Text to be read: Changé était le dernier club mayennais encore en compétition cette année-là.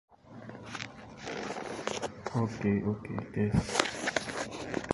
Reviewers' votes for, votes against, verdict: 0, 2, rejected